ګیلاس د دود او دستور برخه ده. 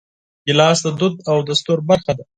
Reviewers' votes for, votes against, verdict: 4, 0, accepted